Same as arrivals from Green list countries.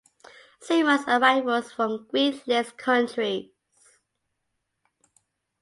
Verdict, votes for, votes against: accepted, 2, 0